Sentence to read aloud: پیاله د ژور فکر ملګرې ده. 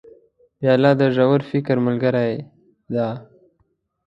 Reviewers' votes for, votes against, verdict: 2, 0, accepted